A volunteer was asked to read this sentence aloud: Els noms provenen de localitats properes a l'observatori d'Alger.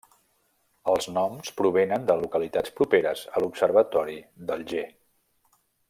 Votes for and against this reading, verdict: 1, 2, rejected